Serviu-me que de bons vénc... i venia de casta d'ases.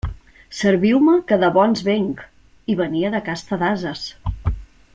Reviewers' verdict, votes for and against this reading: accepted, 2, 0